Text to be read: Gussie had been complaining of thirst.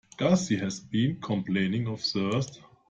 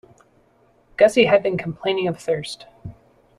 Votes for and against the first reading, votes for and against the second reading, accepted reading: 0, 2, 2, 0, second